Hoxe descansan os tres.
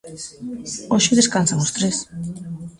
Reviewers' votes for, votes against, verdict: 1, 2, rejected